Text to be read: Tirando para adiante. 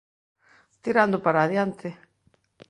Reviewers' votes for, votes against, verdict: 2, 0, accepted